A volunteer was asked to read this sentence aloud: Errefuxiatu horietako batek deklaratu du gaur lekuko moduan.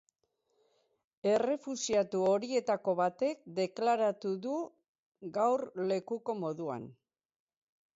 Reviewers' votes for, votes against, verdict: 4, 2, accepted